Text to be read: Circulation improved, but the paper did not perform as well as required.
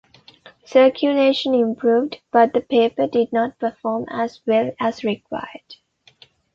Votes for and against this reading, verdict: 2, 0, accepted